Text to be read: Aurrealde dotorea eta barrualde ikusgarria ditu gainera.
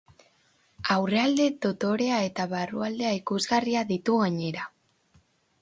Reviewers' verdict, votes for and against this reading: rejected, 0, 2